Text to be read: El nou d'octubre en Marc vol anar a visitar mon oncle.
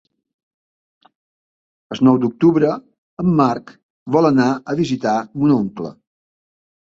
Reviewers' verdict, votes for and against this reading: rejected, 1, 2